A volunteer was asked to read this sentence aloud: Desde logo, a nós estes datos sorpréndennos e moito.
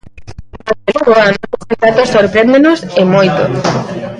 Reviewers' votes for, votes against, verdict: 0, 2, rejected